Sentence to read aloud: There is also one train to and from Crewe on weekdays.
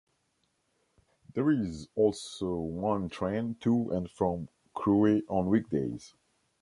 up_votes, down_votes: 2, 1